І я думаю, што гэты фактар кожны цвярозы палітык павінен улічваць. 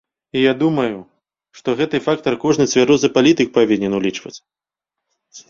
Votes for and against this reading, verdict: 2, 0, accepted